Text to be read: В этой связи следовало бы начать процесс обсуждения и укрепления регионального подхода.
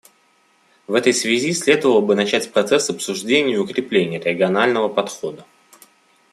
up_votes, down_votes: 2, 0